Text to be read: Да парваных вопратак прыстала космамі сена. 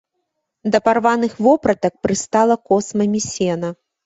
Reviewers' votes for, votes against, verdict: 2, 0, accepted